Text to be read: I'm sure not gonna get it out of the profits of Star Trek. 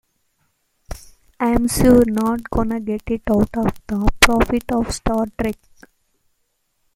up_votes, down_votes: 1, 2